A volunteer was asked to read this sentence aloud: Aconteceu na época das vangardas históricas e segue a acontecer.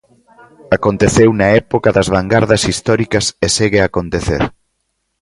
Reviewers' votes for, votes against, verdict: 2, 0, accepted